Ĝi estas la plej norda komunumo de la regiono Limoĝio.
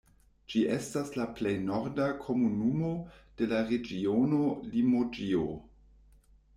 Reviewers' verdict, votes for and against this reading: rejected, 0, 2